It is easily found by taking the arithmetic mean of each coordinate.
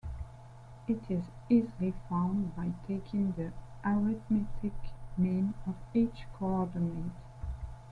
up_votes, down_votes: 2, 0